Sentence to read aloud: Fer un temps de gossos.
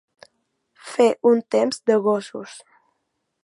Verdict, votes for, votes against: accepted, 2, 0